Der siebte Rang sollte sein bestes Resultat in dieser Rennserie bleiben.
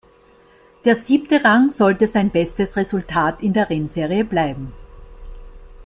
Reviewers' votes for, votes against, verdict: 2, 1, accepted